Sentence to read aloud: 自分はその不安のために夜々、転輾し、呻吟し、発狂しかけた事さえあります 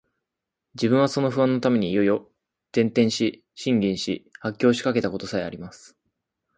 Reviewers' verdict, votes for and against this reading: accepted, 2, 0